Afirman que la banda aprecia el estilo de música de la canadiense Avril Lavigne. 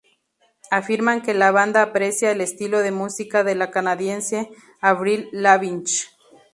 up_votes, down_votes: 0, 2